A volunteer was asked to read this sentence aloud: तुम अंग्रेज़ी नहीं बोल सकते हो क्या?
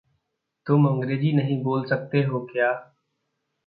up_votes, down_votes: 2, 0